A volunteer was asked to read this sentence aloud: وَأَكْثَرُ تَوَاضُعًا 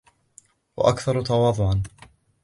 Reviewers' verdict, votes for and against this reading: rejected, 1, 2